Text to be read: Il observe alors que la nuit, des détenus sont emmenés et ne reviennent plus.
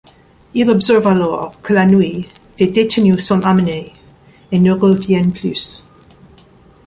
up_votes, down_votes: 1, 2